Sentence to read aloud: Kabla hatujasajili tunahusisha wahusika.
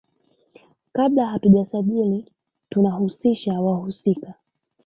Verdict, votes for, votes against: rejected, 1, 2